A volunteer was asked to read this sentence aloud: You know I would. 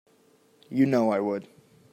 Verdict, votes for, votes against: accepted, 3, 0